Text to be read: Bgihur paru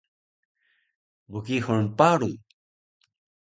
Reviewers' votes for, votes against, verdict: 1, 2, rejected